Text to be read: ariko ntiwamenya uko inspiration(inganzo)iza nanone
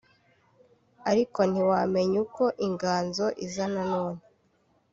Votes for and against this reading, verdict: 0, 2, rejected